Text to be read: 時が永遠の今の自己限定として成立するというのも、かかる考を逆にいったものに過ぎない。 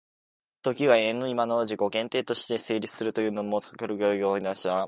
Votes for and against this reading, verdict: 0, 2, rejected